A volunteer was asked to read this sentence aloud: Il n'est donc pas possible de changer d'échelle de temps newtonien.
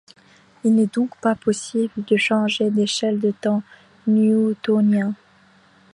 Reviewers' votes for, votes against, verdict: 0, 2, rejected